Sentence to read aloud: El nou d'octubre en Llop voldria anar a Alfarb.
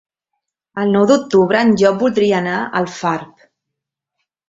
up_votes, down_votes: 2, 0